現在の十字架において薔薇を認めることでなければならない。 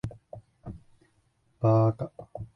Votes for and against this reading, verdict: 0, 2, rejected